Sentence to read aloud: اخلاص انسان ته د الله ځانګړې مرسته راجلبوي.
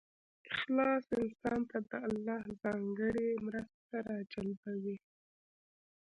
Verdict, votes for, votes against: rejected, 1, 2